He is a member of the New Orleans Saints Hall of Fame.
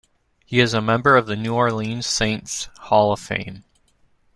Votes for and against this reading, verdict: 2, 0, accepted